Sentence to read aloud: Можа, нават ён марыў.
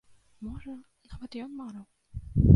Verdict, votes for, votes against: rejected, 1, 2